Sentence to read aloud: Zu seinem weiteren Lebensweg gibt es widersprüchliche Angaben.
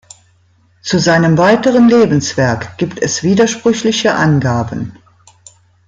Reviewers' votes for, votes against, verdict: 0, 2, rejected